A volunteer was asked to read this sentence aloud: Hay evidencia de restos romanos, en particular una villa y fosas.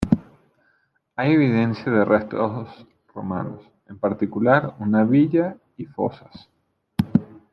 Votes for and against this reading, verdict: 2, 2, rejected